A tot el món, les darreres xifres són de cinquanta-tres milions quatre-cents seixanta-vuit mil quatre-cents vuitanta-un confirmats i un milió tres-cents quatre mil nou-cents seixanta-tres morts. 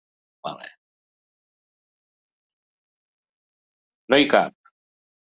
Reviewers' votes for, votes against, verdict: 0, 2, rejected